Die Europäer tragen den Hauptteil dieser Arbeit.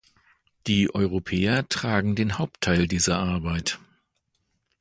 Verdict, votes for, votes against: accepted, 2, 0